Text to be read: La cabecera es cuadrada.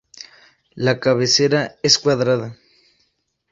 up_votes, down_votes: 2, 0